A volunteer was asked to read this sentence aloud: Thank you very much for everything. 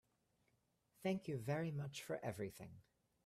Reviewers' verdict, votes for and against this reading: accepted, 3, 0